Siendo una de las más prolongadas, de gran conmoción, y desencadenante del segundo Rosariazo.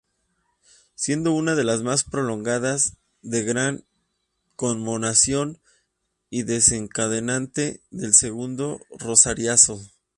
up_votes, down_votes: 0, 2